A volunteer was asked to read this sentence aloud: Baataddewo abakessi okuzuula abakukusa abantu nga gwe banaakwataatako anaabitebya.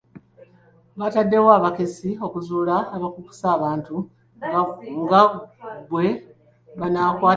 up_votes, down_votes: 0, 2